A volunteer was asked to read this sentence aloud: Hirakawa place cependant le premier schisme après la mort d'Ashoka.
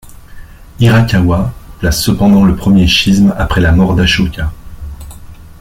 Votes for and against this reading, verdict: 2, 0, accepted